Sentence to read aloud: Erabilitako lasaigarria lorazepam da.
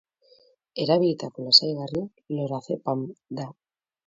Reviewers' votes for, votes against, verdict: 0, 2, rejected